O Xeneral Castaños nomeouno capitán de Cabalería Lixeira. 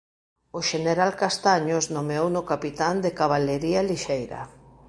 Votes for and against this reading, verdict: 2, 0, accepted